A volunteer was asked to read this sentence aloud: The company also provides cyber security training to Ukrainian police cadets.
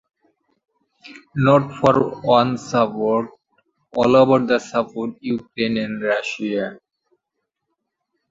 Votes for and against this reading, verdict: 0, 2, rejected